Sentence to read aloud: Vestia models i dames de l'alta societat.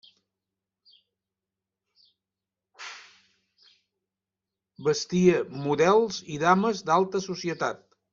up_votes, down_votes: 0, 2